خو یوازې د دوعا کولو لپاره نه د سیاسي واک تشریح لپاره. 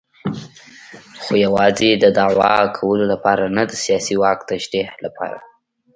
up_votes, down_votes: 2, 0